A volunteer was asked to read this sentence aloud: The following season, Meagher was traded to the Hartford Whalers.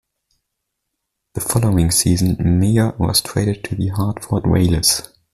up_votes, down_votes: 0, 2